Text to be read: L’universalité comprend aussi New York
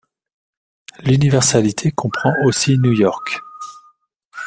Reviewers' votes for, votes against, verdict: 2, 1, accepted